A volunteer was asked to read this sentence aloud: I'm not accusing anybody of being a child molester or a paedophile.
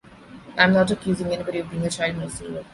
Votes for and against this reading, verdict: 0, 2, rejected